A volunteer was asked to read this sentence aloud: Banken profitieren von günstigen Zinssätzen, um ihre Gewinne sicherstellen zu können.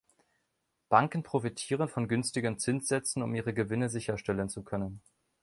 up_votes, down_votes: 2, 0